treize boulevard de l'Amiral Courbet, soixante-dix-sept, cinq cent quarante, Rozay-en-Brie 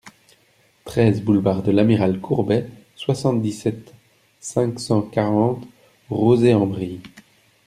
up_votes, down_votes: 2, 0